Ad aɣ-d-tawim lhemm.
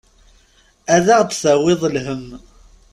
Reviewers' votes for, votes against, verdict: 1, 2, rejected